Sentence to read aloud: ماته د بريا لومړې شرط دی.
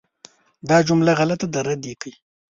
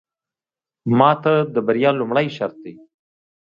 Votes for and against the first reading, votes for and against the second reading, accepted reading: 0, 2, 3, 0, second